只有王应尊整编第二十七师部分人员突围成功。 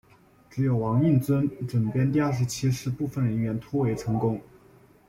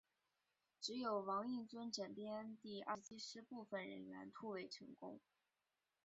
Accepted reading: first